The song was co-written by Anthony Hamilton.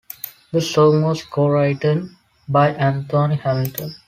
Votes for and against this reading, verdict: 2, 0, accepted